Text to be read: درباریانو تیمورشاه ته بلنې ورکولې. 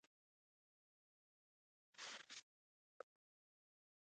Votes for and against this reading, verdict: 2, 0, accepted